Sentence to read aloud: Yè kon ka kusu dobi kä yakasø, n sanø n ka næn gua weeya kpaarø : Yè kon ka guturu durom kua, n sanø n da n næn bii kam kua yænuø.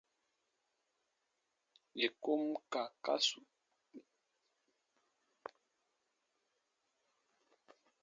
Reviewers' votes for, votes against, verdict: 0, 2, rejected